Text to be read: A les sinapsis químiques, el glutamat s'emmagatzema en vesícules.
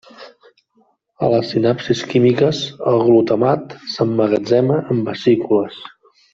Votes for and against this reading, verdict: 1, 2, rejected